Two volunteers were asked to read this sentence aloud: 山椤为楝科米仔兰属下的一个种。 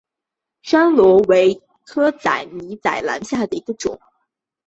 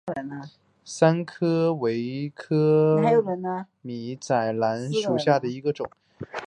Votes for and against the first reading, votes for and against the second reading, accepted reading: 5, 0, 0, 2, first